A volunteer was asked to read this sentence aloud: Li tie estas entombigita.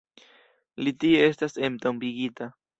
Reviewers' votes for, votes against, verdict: 2, 0, accepted